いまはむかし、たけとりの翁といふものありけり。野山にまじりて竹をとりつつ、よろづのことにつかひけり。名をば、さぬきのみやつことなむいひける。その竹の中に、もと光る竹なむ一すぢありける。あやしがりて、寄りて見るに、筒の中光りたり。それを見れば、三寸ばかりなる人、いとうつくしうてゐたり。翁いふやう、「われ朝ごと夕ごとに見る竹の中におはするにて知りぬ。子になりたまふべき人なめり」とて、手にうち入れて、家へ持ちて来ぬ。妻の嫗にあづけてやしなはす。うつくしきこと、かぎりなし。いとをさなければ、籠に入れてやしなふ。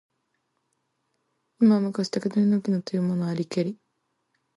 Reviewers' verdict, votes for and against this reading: rejected, 1, 2